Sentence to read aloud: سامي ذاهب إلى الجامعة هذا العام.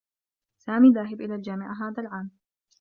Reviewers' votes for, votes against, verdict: 1, 2, rejected